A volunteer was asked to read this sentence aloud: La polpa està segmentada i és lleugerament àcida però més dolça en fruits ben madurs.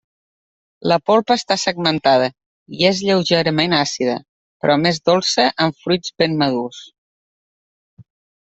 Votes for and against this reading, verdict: 2, 1, accepted